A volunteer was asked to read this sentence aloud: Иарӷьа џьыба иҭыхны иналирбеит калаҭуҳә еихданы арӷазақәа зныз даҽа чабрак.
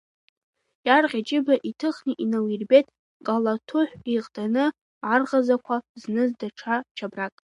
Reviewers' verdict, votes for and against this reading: rejected, 0, 2